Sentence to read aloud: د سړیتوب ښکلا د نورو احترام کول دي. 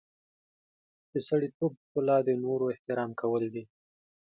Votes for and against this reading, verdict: 2, 0, accepted